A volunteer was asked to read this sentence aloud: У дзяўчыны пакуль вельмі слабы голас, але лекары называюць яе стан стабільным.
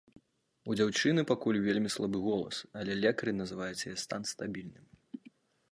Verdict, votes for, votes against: accepted, 2, 0